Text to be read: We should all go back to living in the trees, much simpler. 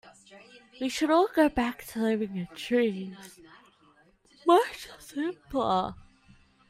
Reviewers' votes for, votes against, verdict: 0, 2, rejected